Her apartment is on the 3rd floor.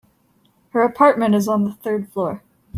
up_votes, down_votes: 0, 2